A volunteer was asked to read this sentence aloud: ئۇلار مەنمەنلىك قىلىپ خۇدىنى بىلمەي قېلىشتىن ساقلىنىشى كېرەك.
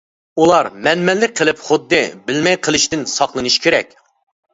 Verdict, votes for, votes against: rejected, 0, 2